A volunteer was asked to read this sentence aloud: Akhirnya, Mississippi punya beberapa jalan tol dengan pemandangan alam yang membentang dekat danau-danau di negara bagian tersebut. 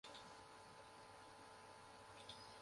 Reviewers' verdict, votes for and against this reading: rejected, 0, 2